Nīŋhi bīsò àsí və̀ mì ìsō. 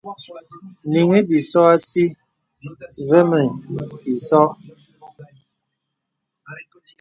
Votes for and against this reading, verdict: 2, 0, accepted